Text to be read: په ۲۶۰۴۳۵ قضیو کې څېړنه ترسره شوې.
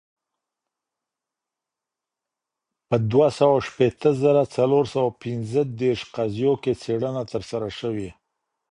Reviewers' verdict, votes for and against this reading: rejected, 0, 2